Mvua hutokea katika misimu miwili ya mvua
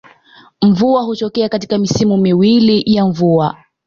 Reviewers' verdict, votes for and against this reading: accepted, 2, 0